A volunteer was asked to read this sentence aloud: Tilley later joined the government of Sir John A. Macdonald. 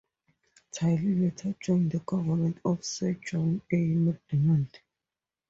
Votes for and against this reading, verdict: 2, 0, accepted